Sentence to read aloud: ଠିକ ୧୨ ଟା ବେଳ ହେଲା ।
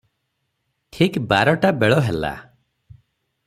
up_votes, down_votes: 0, 2